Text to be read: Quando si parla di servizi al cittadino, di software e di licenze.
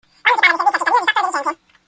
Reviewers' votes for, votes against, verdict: 0, 2, rejected